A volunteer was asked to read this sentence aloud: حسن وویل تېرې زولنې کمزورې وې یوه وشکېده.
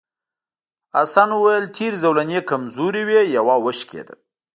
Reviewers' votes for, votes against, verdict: 1, 2, rejected